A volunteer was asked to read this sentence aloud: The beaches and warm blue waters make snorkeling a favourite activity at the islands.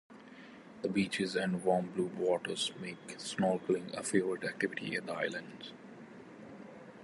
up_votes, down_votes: 0, 2